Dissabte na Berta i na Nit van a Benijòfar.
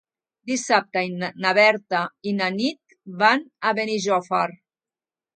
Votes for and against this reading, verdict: 1, 2, rejected